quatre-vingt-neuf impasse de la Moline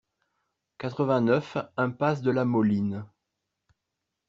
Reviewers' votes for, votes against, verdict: 2, 0, accepted